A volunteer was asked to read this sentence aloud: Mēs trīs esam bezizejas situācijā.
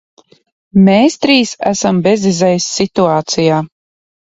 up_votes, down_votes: 1, 2